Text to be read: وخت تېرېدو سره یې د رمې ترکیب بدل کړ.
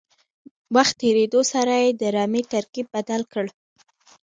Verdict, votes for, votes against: rejected, 0, 2